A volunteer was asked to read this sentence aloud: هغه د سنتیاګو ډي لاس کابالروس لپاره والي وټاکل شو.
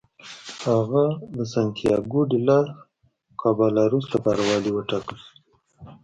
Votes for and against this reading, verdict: 2, 0, accepted